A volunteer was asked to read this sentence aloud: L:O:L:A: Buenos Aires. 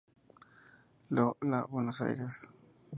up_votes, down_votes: 0, 2